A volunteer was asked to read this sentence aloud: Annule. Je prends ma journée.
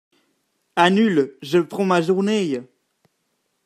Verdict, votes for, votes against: rejected, 1, 2